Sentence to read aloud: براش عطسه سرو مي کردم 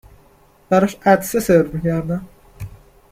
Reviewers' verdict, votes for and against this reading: accepted, 2, 0